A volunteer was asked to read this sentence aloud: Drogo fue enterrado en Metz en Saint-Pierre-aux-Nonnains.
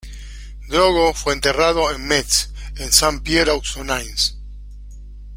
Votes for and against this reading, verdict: 2, 0, accepted